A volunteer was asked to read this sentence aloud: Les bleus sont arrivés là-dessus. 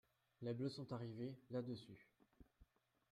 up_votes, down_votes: 2, 1